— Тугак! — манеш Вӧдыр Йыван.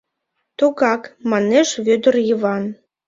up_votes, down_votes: 2, 0